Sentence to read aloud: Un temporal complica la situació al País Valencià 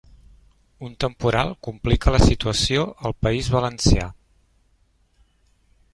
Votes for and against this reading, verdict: 4, 0, accepted